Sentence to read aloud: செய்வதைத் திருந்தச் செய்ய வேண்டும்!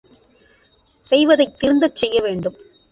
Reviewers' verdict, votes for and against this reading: accepted, 2, 0